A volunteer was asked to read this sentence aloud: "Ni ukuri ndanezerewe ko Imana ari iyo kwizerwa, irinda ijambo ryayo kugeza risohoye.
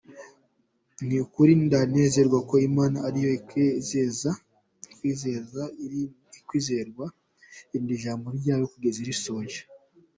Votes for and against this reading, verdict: 1, 2, rejected